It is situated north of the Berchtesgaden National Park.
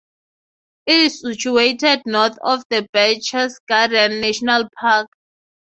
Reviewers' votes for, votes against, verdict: 0, 3, rejected